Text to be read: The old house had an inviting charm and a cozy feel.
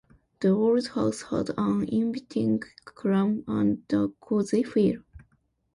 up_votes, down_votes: 0, 2